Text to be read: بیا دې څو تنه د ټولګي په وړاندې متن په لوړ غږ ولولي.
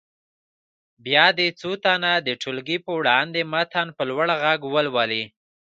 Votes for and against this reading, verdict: 0, 2, rejected